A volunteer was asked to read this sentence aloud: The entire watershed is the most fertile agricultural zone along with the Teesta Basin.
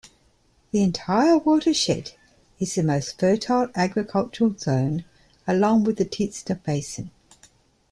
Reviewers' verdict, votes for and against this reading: accepted, 2, 0